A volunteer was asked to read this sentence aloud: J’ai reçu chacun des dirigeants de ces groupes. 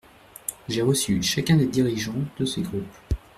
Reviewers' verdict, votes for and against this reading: rejected, 1, 2